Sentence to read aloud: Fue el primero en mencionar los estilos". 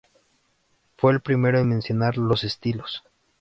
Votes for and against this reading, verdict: 2, 0, accepted